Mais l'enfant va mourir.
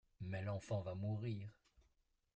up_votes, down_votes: 2, 1